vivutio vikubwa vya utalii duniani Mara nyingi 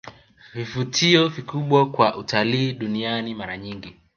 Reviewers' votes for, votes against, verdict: 0, 2, rejected